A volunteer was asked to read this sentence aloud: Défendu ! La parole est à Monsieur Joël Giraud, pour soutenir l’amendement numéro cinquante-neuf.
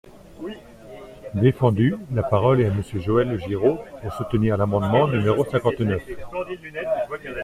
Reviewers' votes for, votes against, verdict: 2, 0, accepted